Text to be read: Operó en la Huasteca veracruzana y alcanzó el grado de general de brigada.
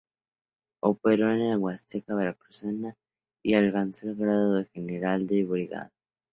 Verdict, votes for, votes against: rejected, 0, 2